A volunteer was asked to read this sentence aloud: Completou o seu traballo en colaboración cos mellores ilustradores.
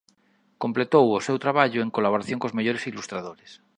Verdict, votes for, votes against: accepted, 2, 0